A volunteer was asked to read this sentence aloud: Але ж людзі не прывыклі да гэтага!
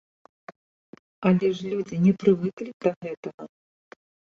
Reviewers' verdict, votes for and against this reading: accepted, 2, 0